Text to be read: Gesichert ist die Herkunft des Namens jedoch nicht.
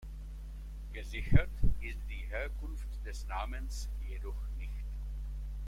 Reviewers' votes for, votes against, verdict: 1, 2, rejected